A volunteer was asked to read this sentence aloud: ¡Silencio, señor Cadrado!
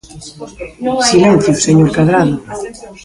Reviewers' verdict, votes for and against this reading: accepted, 2, 0